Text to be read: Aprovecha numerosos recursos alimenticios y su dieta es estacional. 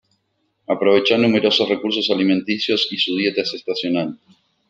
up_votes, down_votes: 1, 2